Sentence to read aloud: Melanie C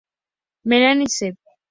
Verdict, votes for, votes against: accepted, 2, 0